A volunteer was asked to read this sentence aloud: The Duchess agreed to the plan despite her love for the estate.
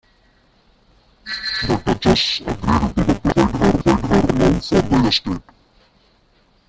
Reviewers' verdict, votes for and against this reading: rejected, 0, 2